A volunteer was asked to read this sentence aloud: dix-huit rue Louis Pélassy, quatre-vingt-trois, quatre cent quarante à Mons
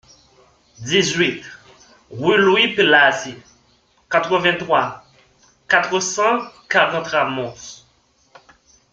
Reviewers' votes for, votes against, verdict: 1, 2, rejected